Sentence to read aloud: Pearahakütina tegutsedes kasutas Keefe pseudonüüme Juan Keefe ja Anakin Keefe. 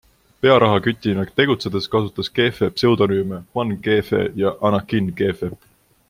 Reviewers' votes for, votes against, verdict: 2, 0, accepted